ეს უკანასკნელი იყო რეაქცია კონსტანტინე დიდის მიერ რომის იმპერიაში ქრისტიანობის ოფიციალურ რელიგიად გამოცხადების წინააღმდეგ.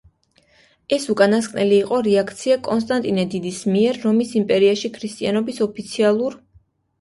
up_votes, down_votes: 0, 2